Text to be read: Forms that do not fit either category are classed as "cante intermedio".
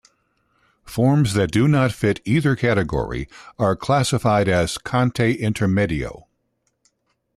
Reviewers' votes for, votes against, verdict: 1, 2, rejected